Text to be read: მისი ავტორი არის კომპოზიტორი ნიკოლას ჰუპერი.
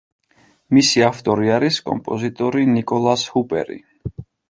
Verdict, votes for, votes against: accepted, 3, 0